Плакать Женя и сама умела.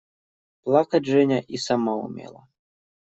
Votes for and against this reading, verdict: 2, 0, accepted